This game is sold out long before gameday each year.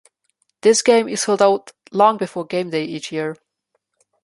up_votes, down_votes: 2, 0